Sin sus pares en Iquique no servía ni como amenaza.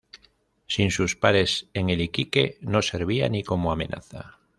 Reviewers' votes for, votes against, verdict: 1, 2, rejected